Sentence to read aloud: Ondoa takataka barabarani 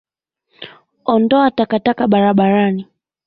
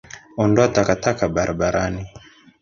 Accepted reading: first